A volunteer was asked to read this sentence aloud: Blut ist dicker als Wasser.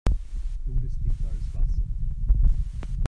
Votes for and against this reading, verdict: 1, 2, rejected